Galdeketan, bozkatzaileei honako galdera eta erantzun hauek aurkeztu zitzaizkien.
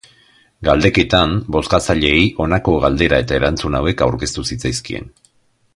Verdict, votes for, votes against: accepted, 2, 0